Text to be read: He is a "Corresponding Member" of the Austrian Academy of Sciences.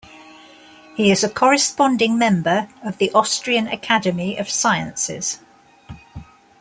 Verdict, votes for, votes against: accepted, 2, 0